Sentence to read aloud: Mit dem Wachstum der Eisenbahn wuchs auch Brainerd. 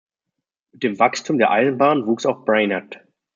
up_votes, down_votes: 1, 2